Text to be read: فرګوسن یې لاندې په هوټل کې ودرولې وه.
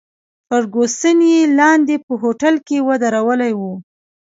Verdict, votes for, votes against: accepted, 2, 0